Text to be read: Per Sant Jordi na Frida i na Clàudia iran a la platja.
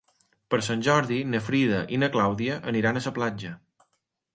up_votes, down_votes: 1, 2